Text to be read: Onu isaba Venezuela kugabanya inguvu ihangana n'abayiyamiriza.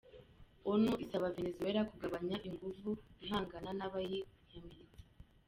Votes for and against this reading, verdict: 0, 2, rejected